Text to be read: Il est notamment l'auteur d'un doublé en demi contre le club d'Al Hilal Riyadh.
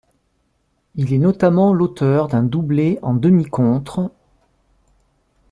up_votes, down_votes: 0, 2